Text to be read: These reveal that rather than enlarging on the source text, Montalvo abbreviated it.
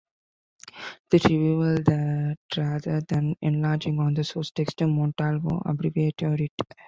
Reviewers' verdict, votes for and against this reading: rejected, 0, 2